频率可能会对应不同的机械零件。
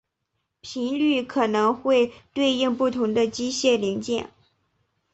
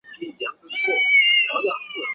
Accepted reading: first